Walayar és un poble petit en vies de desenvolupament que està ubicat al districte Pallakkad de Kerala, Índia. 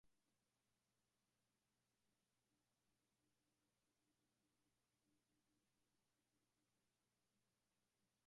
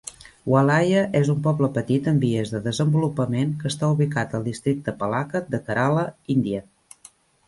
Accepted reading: second